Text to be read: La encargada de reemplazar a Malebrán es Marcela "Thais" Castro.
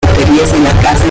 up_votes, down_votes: 0, 2